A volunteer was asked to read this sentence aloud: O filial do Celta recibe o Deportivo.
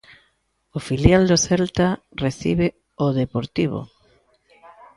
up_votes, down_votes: 2, 0